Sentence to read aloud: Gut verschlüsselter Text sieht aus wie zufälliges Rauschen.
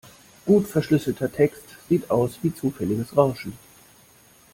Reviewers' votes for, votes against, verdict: 2, 0, accepted